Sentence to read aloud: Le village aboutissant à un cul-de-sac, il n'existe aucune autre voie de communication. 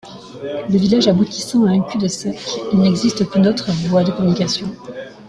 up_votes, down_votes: 2, 1